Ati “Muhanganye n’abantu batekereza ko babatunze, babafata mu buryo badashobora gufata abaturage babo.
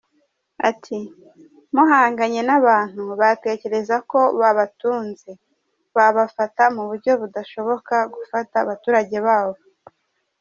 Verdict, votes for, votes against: rejected, 1, 2